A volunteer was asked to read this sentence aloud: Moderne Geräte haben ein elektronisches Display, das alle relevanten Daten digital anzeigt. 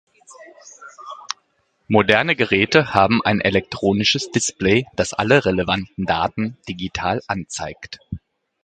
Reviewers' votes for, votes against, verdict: 2, 0, accepted